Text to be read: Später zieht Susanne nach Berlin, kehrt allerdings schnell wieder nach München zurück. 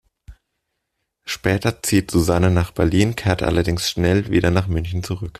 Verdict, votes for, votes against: accepted, 2, 0